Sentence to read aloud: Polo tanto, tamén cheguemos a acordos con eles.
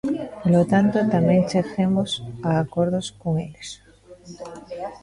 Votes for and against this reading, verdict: 1, 2, rejected